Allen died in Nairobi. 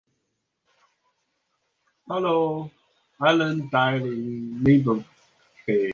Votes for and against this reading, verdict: 0, 2, rejected